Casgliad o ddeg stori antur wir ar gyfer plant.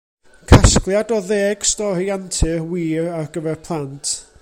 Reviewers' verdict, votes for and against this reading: accepted, 2, 0